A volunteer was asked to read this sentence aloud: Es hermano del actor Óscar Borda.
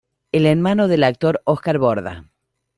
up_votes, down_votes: 1, 2